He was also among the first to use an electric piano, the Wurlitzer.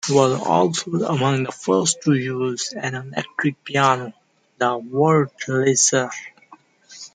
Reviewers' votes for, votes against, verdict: 1, 2, rejected